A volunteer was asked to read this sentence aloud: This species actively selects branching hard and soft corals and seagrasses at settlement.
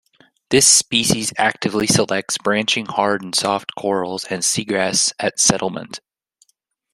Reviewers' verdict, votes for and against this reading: rejected, 0, 2